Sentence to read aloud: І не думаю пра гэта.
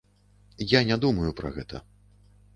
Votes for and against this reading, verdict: 0, 2, rejected